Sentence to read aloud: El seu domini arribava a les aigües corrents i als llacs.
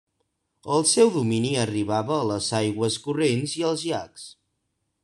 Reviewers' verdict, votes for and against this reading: rejected, 1, 2